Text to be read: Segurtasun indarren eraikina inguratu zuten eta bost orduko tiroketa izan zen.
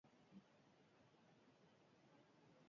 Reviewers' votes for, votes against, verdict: 0, 4, rejected